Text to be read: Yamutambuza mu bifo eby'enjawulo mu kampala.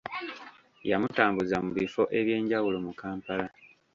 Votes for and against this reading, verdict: 1, 2, rejected